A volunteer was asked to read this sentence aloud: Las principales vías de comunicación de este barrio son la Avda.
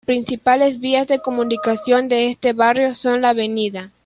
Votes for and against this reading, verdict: 0, 2, rejected